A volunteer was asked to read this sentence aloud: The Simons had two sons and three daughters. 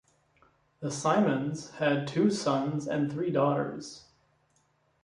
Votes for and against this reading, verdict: 2, 0, accepted